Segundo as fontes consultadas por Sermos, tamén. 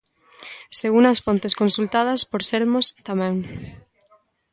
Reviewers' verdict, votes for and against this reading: accepted, 2, 0